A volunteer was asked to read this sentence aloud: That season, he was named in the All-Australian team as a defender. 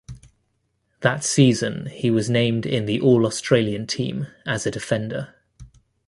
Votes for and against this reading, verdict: 2, 0, accepted